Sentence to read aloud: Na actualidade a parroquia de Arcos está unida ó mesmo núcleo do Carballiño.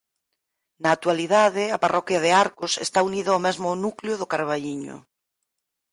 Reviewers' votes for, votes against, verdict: 4, 0, accepted